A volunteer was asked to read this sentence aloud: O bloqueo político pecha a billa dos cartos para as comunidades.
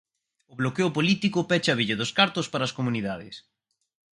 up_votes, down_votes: 4, 2